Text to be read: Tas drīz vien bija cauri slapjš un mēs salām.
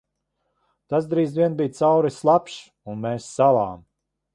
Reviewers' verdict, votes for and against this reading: accepted, 2, 0